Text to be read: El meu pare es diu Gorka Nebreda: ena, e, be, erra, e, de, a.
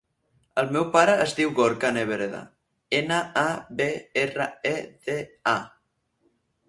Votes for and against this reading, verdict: 0, 4, rejected